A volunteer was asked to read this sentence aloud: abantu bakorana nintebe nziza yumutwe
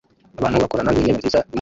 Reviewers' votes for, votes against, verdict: 0, 2, rejected